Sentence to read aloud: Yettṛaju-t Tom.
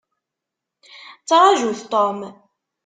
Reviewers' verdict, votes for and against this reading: rejected, 1, 2